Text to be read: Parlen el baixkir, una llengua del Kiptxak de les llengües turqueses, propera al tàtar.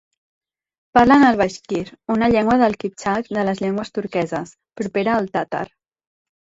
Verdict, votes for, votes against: accepted, 2, 0